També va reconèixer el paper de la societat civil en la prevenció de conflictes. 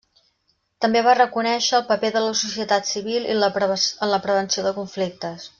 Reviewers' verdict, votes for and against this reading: rejected, 0, 2